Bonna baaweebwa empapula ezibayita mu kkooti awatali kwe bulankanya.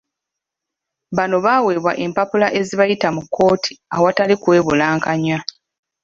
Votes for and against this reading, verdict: 1, 2, rejected